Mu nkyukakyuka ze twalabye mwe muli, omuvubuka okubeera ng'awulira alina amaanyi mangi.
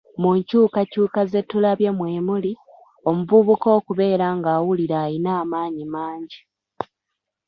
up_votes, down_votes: 1, 2